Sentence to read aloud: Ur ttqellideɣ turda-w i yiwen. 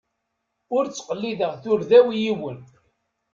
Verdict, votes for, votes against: accepted, 2, 0